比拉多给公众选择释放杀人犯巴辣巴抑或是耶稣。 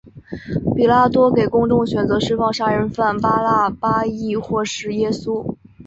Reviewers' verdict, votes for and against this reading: accepted, 2, 0